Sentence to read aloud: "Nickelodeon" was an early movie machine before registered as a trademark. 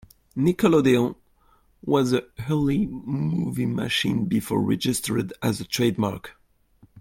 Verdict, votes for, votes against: rejected, 1, 2